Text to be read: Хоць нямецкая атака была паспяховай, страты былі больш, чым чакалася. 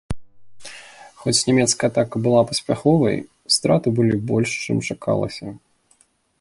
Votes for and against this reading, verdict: 2, 0, accepted